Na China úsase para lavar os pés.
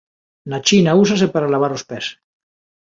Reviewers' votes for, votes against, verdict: 2, 0, accepted